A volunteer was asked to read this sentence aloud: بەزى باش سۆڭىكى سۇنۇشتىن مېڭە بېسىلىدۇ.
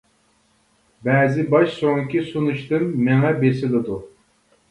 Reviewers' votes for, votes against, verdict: 2, 1, accepted